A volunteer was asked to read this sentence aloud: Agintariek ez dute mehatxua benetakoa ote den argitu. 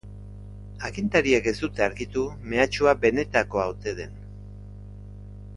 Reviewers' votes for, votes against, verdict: 0, 2, rejected